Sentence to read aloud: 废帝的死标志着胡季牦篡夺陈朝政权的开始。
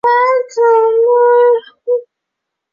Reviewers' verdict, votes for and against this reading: rejected, 1, 5